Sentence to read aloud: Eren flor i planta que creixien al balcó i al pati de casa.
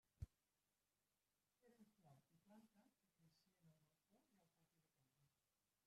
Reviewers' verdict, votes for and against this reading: rejected, 0, 2